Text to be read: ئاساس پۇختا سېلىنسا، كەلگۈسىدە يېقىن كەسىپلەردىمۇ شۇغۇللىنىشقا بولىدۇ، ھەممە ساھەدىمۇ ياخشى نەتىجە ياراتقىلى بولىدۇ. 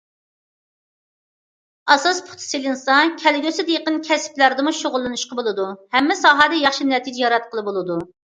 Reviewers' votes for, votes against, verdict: 0, 2, rejected